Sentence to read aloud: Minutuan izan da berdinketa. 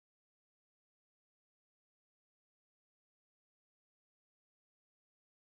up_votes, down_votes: 1, 2